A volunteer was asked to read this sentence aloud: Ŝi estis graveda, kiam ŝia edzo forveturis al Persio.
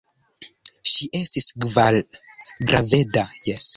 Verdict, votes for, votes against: rejected, 0, 3